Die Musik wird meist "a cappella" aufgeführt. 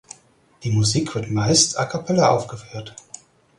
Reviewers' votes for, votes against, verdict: 4, 0, accepted